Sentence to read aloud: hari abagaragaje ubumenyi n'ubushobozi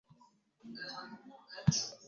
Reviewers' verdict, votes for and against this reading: rejected, 1, 2